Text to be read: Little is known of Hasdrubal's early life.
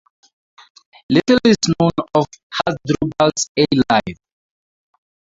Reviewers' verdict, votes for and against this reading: rejected, 0, 4